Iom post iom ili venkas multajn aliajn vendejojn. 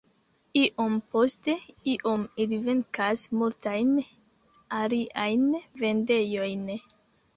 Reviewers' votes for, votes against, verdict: 1, 2, rejected